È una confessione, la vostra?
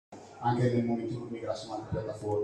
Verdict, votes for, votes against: rejected, 0, 2